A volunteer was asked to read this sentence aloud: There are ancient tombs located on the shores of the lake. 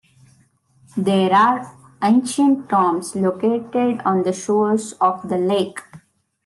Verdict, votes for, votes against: accepted, 2, 0